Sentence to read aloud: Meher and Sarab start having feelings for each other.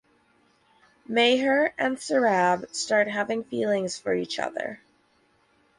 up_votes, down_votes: 4, 0